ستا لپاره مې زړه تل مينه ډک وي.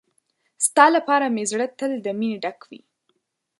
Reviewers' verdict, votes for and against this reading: rejected, 1, 2